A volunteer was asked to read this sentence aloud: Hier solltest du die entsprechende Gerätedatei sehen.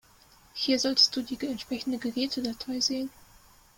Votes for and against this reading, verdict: 0, 2, rejected